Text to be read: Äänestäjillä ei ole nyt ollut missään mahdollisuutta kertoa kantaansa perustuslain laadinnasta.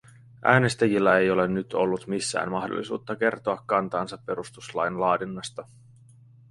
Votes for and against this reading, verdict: 2, 0, accepted